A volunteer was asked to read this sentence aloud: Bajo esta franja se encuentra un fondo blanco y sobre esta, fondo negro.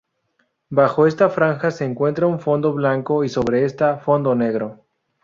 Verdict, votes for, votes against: rejected, 0, 2